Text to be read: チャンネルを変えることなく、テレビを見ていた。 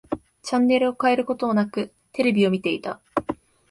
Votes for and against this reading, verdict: 2, 1, accepted